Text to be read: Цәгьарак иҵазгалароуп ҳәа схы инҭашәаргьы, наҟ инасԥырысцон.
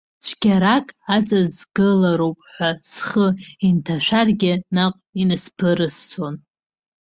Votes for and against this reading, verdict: 0, 2, rejected